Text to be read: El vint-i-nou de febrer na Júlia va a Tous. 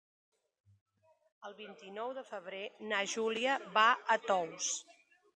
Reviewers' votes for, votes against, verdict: 3, 0, accepted